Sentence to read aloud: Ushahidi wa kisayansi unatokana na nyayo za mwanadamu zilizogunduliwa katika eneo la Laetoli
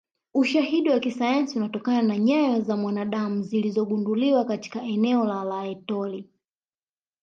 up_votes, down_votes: 1, 2